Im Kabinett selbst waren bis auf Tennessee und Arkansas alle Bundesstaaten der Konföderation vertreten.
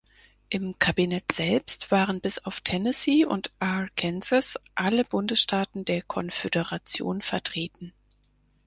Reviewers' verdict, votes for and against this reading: rejected, 2, 4